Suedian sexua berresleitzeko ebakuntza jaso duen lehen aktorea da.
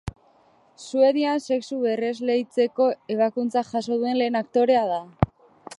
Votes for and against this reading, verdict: 6, 1, accepted